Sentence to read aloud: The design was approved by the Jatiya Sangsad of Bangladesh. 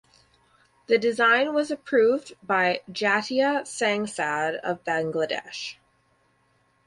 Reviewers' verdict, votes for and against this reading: rejected, 2, 4